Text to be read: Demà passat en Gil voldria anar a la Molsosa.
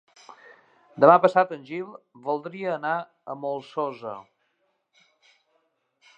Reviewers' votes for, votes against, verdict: 1, 2, rejected